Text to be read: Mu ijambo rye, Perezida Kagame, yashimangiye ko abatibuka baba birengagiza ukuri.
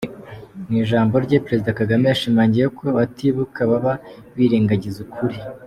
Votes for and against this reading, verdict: 2, 0, accepted